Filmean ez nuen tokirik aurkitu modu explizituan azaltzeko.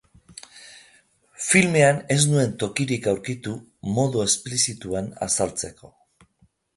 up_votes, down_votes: 2, 0